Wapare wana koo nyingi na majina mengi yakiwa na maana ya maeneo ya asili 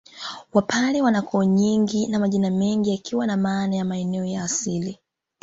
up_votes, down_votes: 2, 0